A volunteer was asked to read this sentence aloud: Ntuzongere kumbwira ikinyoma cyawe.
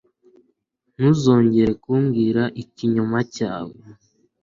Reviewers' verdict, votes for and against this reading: accepted, 2, 0